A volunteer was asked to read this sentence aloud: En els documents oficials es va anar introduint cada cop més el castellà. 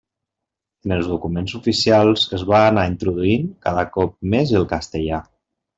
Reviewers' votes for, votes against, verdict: 0, 2, rejected